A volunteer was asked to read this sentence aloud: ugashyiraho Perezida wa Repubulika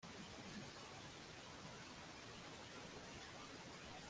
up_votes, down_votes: 0, 2